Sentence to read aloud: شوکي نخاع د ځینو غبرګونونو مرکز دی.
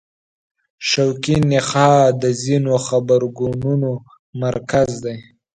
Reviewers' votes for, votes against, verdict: 3, 5, rejected